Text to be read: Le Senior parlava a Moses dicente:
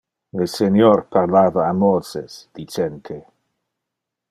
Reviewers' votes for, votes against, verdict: 2, 0, accepted